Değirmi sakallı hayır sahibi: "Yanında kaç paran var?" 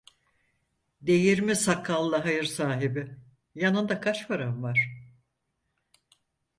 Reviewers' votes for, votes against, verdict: 4, 0, accepted